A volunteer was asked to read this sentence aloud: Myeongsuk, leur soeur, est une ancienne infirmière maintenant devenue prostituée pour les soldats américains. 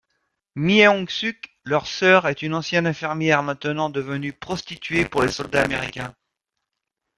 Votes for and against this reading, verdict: 2, 0, accepted